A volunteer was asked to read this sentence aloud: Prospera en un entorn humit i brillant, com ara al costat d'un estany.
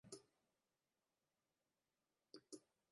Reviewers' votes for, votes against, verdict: 0, 2, rejected